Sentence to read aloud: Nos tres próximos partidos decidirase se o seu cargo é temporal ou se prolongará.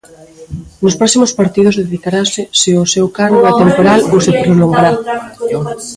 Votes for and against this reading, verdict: 0, 2, rejected